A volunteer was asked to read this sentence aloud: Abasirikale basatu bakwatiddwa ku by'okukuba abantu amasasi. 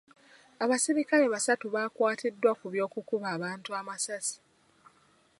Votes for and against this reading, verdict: 1, 2, rejected